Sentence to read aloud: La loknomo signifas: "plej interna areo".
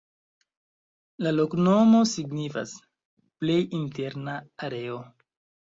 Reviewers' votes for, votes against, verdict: 0, 2, rejected